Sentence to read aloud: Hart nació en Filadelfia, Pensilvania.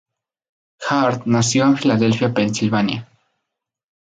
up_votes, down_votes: 2, 0